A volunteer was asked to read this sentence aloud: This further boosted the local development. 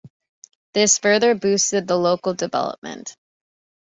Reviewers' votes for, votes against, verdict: 2, 0, accepted